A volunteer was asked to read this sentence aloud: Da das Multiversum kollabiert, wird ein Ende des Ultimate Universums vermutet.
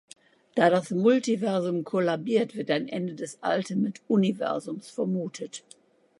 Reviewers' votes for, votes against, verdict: 3, 0, accepted